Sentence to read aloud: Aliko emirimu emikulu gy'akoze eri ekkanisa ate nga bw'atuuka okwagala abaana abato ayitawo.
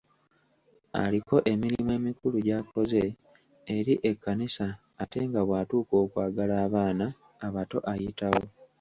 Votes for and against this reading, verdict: 1, 2, rejected